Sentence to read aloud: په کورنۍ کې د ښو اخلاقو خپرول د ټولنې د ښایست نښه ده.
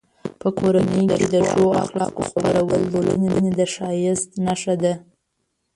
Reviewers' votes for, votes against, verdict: 1, 2, rejected